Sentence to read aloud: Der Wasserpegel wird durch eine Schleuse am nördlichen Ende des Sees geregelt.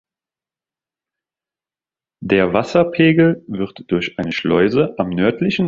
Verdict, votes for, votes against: rejected, 0, 4